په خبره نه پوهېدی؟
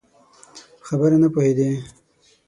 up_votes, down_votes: 9, 0